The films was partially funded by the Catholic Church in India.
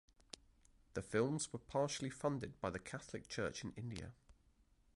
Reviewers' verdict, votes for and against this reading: accepted, 2, 1